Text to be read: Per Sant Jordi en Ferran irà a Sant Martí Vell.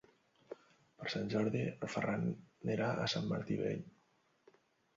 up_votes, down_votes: 1, 2